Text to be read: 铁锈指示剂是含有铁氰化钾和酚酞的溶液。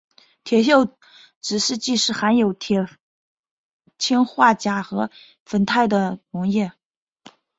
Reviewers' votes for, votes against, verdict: 2, 0, accepted